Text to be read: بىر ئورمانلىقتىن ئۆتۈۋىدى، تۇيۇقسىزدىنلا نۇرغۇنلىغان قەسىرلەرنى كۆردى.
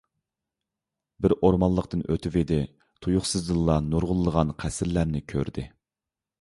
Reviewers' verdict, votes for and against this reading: accepted, 2, 0